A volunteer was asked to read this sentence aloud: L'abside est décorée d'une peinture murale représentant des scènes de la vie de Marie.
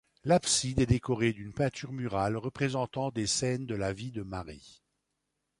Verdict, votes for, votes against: accepted, 2, 1